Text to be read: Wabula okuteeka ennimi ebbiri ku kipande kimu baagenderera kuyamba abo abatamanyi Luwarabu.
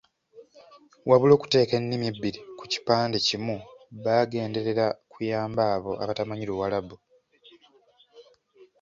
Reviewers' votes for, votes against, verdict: 2, 0, accepted